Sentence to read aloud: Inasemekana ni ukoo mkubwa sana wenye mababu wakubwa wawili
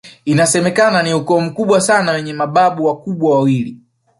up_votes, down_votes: 1, 2